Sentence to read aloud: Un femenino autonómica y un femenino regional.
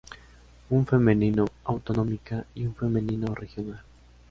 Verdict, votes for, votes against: accepted, 2, 0